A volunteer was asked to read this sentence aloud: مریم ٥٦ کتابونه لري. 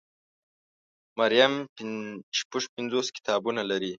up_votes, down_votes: 0, 2